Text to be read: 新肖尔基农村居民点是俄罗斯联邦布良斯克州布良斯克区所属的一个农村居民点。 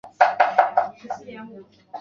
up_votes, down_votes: 0, 2